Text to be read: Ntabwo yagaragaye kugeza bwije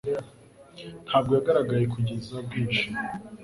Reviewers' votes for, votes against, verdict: 2, 0, accepted